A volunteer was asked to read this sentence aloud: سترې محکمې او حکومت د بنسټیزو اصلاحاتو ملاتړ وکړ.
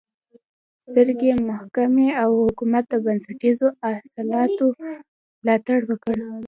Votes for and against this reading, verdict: 1, 2, rejected